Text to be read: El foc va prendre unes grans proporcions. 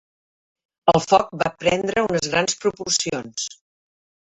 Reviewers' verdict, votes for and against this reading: accepted, 3, 1